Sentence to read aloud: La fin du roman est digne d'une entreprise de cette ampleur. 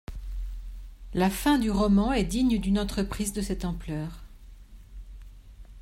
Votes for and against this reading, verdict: 2, 0, accepted